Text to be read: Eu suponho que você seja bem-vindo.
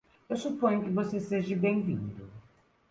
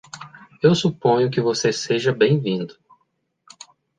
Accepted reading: second